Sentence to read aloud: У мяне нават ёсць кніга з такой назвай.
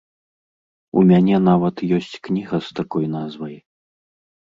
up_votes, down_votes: 2, 0